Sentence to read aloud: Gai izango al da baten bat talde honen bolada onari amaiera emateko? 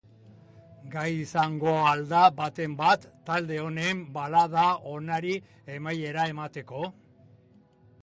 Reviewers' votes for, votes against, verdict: 1, 2, rejected